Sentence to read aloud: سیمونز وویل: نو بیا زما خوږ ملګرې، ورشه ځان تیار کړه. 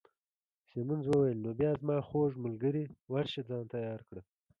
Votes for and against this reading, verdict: 2, 0, accepted